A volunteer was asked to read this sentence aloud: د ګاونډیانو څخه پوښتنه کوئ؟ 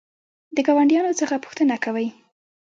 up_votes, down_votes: 1, 2